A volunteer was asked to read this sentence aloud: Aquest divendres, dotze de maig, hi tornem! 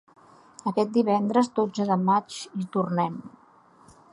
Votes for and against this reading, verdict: 3, 0, accepted